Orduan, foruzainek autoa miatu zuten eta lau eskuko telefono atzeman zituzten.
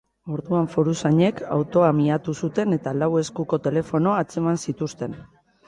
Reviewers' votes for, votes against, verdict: 2, 0, accepted